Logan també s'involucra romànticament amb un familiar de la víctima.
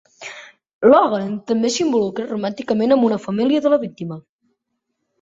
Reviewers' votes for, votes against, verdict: 1, 2, rejected